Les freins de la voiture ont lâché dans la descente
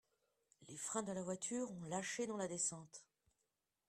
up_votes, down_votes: 2, 0